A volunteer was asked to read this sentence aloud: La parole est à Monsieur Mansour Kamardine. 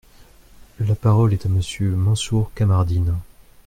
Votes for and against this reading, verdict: 2, 0, accepted